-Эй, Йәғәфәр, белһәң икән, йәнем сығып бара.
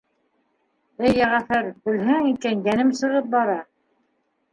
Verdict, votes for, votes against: accepted, 2, 1